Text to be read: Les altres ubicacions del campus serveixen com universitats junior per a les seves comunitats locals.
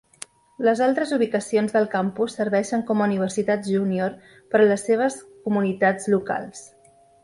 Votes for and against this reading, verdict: 2, 0, accepted